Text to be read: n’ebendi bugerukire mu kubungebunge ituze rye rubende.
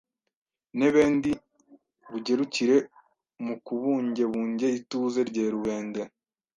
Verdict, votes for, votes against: rejected, 1, 2